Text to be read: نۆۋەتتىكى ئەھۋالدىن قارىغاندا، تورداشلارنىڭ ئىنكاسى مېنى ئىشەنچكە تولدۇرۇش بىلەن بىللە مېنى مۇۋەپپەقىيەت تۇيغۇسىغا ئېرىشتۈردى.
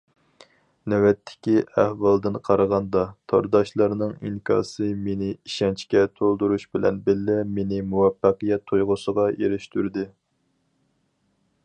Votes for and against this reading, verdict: 4, 0, accepted